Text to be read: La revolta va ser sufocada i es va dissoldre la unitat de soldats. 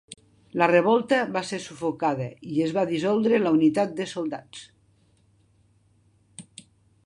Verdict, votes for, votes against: accepted, 3, 1